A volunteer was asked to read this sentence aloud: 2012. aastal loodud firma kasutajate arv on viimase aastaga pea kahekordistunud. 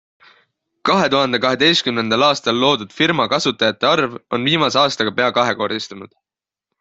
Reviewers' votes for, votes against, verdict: 0, 2, rejected